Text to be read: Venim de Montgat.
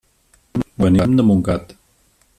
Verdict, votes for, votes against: rejected, 0, 2